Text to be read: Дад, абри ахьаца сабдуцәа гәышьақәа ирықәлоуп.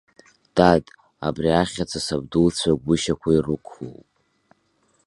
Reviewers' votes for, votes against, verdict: 1, 2, rejected